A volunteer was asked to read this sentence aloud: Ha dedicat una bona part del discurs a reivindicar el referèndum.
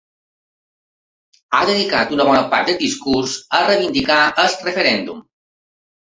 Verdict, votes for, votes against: accepted, 2, 1